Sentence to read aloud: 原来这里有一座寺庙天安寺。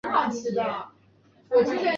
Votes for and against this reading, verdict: 0, 2, rejected